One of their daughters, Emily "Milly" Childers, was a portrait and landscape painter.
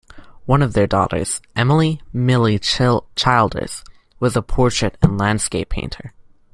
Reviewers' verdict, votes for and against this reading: rejected, 1, 2